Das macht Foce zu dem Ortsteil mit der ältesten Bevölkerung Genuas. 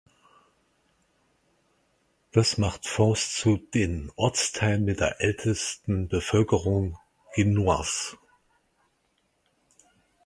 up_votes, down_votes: 2, 4